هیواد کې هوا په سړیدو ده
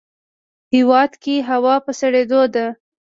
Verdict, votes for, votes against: accepted, 2, 0